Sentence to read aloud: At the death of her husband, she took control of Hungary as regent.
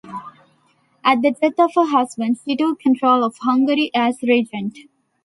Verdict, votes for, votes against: rejected, 0, 2